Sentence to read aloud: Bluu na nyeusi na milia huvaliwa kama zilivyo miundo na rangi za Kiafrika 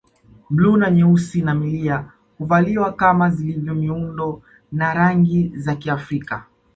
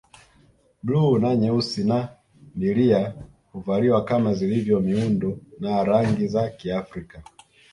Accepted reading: first